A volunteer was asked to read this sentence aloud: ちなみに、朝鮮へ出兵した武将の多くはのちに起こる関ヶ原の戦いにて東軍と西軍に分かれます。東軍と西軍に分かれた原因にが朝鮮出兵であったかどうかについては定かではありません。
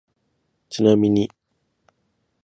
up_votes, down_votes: 0, 6